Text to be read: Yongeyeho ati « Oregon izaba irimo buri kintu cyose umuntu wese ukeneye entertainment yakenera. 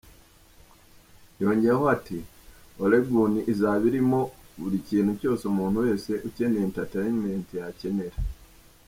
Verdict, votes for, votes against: rejected, 0, 2